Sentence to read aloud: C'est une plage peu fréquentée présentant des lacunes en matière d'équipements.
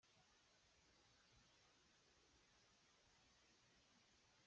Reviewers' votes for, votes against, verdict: 0, 2, rejected